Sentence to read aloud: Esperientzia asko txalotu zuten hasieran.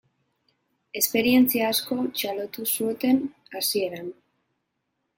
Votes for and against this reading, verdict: 4, 0, accepted